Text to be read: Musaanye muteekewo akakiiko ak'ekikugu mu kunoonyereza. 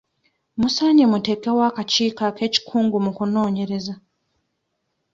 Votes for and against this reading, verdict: 0, 2, rejected